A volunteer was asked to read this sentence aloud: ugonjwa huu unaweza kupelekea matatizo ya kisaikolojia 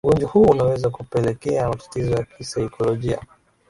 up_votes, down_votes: 3, 1